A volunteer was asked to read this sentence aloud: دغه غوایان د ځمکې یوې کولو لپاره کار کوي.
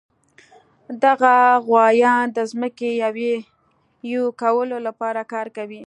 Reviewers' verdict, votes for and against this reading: accepted, 2, 0